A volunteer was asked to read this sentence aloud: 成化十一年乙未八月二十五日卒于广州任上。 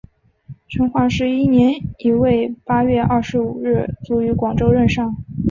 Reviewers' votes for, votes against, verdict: 3, 0, accepted